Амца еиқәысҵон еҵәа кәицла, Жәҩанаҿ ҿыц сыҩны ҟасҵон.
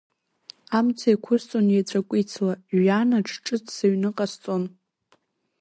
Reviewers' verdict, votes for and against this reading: rejected, 0, 2